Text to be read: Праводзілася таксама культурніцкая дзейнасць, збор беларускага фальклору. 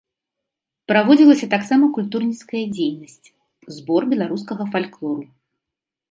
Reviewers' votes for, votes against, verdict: 2, 0, accepted